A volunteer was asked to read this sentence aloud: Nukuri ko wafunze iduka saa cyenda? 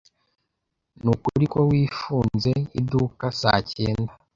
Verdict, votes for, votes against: rejected, 1, 2